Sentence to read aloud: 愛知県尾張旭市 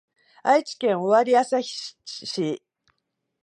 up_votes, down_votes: 2, 1